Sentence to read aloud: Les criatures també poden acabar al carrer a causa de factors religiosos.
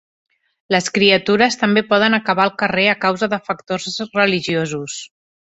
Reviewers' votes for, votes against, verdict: 2, 0, accepted